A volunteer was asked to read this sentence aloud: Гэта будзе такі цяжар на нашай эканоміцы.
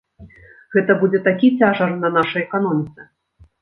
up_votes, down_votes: 0, 2